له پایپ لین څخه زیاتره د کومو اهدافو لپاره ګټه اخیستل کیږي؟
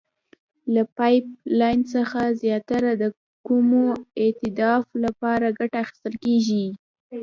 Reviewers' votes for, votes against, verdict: 1, 2, rejected